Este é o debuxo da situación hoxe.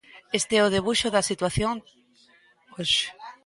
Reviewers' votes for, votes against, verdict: 1, 2, rejected